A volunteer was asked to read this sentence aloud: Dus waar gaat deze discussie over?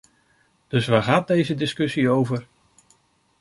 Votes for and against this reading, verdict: 2, 0, accepted